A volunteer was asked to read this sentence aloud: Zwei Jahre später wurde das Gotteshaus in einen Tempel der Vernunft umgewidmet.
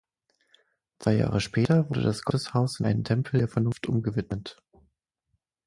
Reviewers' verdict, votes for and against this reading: accepted, 6, 0